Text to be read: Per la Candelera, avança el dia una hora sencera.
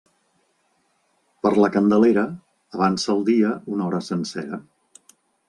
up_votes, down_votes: 2, 0